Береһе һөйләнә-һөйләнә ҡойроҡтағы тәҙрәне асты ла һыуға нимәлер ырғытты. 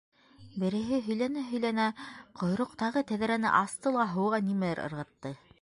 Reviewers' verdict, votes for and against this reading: accepted, 2, 0